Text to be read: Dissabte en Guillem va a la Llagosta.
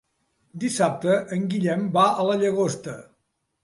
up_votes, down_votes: 2, 0